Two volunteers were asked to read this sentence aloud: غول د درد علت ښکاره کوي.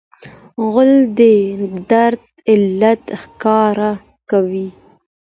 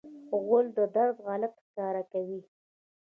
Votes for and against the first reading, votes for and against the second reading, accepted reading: 2, 0, 1, 2, first